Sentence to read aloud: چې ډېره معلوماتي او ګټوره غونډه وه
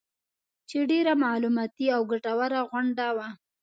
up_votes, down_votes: 2, 0